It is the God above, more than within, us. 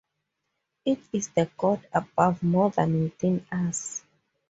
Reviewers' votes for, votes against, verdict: 2, 0, accepted